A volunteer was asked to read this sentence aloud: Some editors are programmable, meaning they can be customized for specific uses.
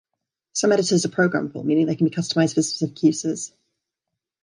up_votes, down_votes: 1, 2